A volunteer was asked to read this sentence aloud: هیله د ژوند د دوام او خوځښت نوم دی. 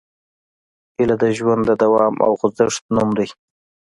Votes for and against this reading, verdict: 2, 0, accepted